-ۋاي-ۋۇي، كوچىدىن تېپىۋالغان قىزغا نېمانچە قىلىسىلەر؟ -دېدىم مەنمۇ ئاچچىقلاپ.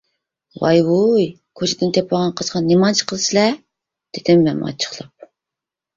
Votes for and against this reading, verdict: 0, 2, rejected